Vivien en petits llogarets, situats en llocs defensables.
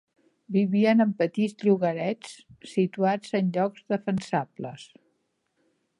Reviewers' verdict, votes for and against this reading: accepted, 2, 0